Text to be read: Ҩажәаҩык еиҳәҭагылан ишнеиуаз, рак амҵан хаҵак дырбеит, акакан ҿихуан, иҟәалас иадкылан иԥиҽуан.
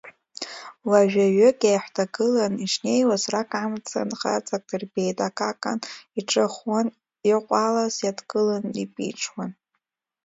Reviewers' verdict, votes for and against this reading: rejected, 1, 2